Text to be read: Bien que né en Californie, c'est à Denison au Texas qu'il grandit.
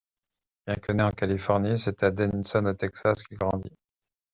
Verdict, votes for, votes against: accepted, 2, 0